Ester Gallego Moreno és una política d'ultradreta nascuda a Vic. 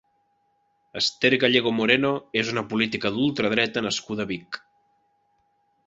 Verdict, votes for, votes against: accepted, 5, 0